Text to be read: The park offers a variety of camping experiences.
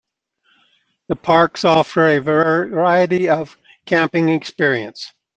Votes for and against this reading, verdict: 0, 2, rejected